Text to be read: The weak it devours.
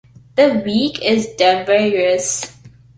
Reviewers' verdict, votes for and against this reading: rejected, 1, 2